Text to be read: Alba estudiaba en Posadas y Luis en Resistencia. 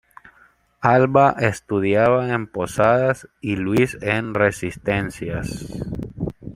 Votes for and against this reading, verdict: 0, 2, rejected